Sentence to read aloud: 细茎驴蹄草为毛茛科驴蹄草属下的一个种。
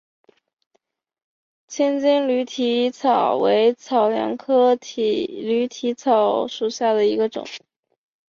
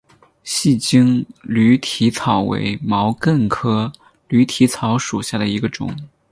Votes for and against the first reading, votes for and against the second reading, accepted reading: 1, 2, 12, 2, second